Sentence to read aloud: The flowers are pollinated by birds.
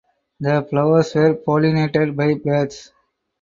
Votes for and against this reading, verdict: 4, 0, accepted